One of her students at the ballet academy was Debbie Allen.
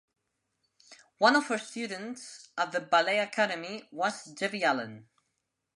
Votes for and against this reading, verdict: 1, 2, rejected